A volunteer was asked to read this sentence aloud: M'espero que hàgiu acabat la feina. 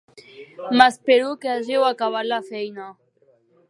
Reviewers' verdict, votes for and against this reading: accepted, 3, 0